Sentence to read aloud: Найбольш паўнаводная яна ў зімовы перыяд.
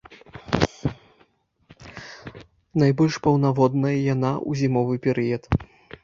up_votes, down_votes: 0, 2